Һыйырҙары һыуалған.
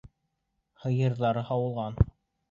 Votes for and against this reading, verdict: 2, 0, accepted